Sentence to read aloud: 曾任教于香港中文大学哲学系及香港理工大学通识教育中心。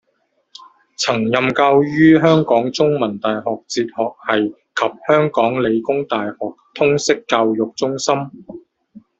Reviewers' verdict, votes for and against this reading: rejected, 0, 2